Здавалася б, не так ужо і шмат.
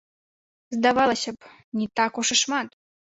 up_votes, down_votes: 1, 2